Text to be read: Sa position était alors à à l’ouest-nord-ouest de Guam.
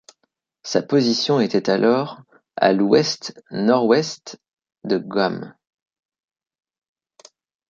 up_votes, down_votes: 1, 2